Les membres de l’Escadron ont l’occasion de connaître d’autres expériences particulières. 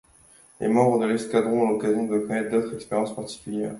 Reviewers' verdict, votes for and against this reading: accepted, 2, 0